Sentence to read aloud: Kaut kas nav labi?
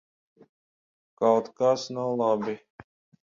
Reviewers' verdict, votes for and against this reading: accepted, 10, 0